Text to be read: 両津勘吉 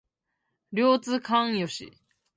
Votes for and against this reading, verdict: 0, 2, rejected